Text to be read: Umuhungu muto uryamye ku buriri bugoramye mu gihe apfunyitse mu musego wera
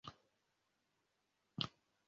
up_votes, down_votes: 0, 2